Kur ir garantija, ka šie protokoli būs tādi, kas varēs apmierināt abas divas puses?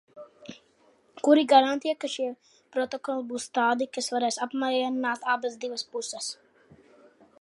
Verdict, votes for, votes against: rejected, 0, 2